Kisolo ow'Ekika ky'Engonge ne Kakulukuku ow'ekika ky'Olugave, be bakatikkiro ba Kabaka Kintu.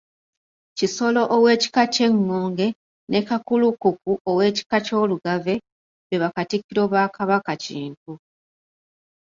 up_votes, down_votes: 2, 0